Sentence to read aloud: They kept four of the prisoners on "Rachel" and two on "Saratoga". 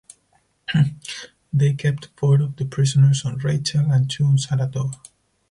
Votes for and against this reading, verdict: 2, 4, rejected